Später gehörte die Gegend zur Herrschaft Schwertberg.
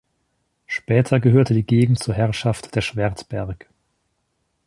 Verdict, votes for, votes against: rejected, 1, 2